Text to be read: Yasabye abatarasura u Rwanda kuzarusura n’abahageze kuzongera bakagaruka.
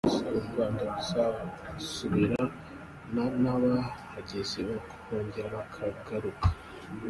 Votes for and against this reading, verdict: 1, 2, rejected